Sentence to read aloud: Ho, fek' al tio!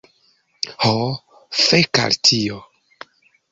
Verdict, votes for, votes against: accepted, 2, 0